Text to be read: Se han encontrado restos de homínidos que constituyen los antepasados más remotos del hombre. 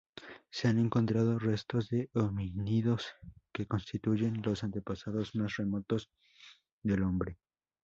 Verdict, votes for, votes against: rejected, 0, 2